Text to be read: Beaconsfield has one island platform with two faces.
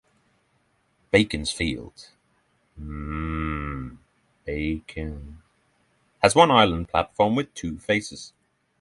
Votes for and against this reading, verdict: 0, 6, rejected